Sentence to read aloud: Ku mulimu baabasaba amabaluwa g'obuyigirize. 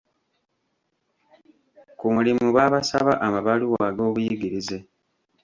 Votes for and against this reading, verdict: 2, 1, accepted